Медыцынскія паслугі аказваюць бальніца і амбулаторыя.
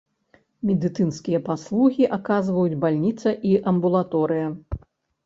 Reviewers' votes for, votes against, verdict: 2, 0, accepted